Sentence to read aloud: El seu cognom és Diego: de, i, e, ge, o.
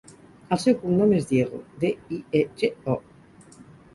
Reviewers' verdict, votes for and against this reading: accepted, 4, 0